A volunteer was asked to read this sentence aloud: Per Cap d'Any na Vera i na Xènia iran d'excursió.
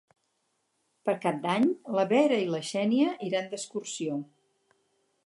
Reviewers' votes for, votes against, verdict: 0, 2, rejected